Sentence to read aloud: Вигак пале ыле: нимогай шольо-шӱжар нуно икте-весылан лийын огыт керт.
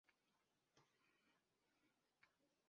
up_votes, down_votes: 0, 2